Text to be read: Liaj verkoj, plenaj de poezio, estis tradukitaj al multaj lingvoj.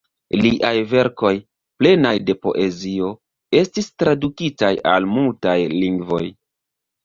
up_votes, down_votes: 1, 2